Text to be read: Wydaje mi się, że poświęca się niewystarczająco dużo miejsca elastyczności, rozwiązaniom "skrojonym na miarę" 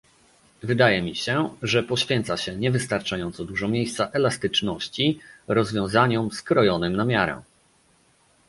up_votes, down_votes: 2, 0